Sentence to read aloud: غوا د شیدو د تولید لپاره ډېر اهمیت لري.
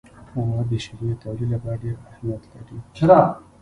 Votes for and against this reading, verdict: 1, 2, rejected